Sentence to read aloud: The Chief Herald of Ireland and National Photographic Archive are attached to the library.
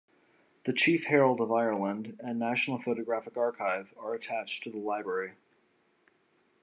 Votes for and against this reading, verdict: 2, 0, accepted